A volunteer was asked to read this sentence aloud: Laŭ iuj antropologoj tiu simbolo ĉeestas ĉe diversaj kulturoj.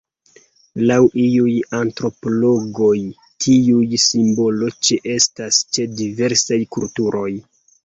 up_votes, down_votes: 1, 2